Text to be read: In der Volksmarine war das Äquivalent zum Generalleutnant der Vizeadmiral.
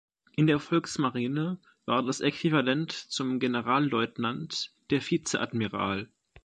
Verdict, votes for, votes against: accepted, 2, 0